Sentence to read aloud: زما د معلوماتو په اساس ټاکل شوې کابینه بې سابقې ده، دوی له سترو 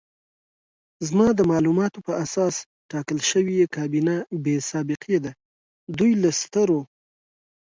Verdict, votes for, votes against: accepted, 2, 0